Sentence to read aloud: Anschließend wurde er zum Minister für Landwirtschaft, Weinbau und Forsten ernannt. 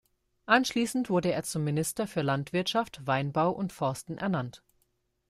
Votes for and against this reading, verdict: 2, 0, accepted